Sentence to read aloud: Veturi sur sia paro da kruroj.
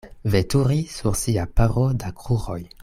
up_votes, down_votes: 2, 1